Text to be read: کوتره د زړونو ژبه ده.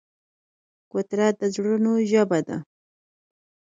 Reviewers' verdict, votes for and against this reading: accepted, 4, 0